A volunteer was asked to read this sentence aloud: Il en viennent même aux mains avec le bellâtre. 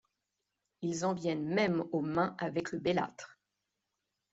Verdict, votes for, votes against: accepted, 2, 0